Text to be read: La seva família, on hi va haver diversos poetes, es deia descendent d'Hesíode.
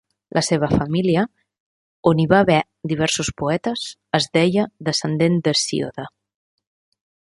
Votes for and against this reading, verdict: 0, 2, rejected